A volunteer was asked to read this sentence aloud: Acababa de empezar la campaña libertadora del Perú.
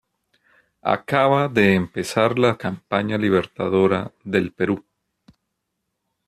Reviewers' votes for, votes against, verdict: 1, 2, rejected